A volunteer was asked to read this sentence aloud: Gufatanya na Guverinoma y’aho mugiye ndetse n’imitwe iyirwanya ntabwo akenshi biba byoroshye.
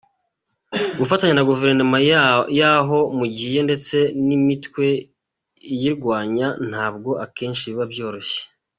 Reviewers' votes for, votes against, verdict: 1, 2, rejected